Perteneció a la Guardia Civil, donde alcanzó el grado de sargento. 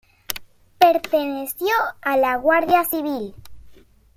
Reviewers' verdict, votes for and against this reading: rejected, 0, 2